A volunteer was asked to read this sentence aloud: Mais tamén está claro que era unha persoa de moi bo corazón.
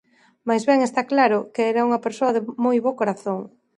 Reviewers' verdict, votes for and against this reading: rejected, 0, 2